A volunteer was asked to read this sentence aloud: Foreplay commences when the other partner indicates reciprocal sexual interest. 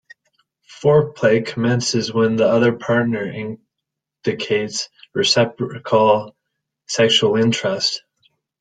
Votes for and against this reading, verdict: 0, 2, rejected